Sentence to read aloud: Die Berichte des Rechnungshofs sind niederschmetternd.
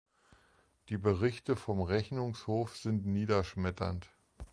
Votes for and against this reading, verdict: 0, 2, rejected